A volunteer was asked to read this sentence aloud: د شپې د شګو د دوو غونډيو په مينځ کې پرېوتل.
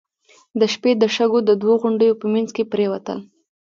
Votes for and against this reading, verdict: 2, 1, accepted